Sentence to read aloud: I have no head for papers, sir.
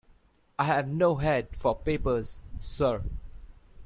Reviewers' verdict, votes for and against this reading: accepted, 2, 0